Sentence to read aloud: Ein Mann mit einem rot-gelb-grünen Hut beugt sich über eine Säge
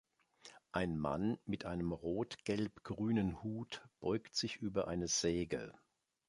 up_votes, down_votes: 2, 1